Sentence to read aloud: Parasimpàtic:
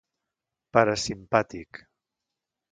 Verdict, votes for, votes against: accepted, 2, 0